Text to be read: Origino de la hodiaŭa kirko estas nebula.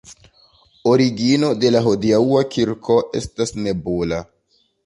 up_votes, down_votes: 2, 0